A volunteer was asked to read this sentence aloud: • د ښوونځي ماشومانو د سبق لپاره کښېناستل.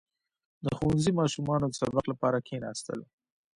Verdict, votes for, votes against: accepted, 3, 0